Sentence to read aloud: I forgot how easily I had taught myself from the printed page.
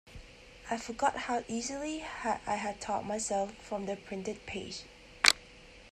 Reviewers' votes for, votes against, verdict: 0, 2, rejected